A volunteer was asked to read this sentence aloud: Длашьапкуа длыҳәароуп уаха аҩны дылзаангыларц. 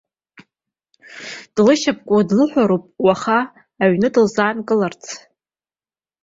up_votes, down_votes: 0, 2